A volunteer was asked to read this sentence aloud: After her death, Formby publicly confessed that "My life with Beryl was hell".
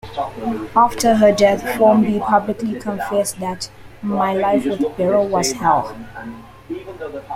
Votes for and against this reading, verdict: 2, 1, accepted